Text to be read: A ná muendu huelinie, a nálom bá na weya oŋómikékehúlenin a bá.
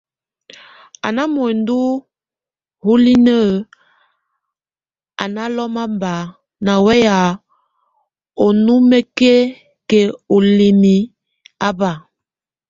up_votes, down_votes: 0, 2